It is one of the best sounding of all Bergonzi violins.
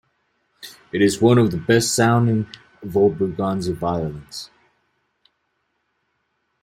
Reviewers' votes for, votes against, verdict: 0, 2, rejected